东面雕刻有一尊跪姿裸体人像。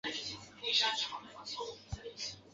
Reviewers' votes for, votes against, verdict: 1, 6, rejected